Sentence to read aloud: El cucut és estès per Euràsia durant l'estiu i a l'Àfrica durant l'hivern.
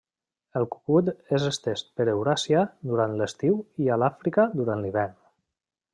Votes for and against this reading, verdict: 0, 2, rejected